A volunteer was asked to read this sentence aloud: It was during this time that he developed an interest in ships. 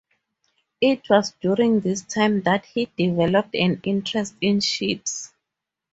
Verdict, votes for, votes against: accepted, 4, 0